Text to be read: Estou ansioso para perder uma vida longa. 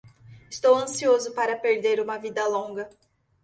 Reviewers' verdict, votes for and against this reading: accepted, 2, 0